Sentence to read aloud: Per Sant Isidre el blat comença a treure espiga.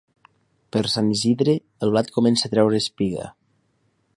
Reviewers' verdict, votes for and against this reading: accepted, 2, 0